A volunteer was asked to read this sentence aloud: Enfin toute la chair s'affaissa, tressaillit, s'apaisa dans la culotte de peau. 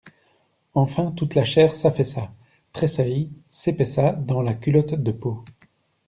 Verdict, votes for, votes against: rejected, 1, 2